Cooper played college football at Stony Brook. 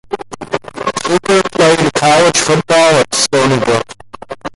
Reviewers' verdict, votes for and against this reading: rejected, 0, 2